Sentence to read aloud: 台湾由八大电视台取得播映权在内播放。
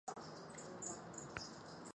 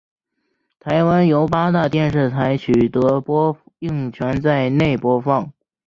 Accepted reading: second